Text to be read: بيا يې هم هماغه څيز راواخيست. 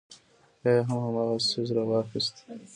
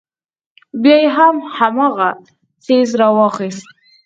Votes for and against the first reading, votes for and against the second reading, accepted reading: 2, 0, 0, 4, first